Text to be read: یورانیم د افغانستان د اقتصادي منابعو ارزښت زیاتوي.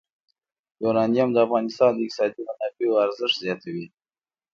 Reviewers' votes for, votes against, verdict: 2, 0, accepted